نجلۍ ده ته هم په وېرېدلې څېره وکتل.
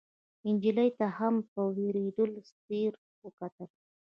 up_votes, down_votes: 1, 2